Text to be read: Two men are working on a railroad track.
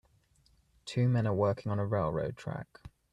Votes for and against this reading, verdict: 3, 0, accepted